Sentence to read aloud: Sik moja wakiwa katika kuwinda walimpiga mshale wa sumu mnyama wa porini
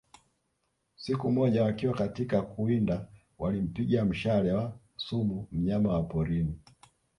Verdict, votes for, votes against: rejected, 1, 2